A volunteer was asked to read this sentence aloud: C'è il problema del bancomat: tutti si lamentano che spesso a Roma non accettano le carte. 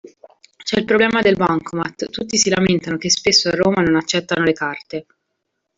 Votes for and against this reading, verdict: 2, 0, accepted